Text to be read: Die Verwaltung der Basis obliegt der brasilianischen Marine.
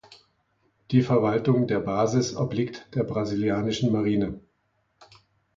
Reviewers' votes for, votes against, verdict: 2, 1, accepted